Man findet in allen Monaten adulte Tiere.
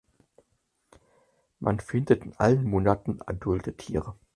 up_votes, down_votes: 4, 0